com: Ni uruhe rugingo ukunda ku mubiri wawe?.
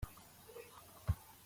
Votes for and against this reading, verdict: 0, 2, rejected